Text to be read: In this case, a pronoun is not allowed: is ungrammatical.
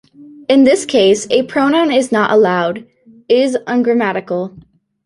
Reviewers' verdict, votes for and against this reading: accepted, 2, 0